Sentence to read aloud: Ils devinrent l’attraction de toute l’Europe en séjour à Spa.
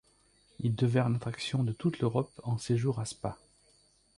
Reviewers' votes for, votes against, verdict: 1, 2, rejected